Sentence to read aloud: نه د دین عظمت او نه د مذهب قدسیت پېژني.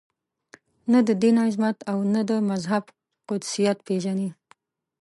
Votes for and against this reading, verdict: 2, 0, accepted